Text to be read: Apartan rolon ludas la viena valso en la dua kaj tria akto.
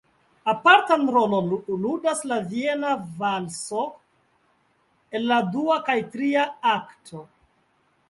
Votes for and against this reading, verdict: 2, 1, accepted